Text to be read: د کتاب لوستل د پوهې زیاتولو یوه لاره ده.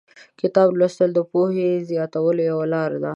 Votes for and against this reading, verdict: 2, 0, accepted